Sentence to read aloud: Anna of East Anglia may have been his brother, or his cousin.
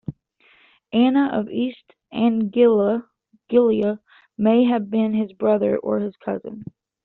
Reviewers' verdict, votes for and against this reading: rejected, 1, 2